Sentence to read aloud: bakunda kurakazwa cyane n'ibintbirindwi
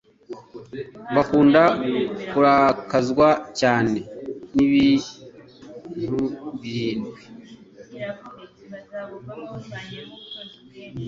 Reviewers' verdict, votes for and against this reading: rejected, 1, 2